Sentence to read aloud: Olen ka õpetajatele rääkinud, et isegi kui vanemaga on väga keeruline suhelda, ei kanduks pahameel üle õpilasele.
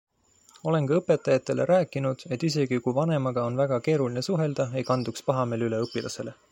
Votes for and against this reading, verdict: 2, 0, accepted